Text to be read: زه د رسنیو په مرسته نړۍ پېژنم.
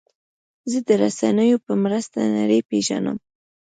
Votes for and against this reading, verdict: 2, 0, accepted